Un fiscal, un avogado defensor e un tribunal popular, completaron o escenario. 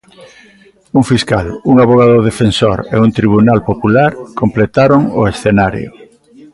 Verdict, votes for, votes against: rejected, 1, 2